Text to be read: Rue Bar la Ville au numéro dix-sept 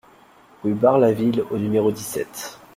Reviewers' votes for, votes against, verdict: 2, 0, accepted